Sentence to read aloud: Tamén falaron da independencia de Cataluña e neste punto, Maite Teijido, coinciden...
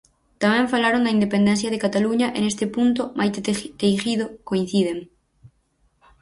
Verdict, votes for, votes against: rejected, 0, 4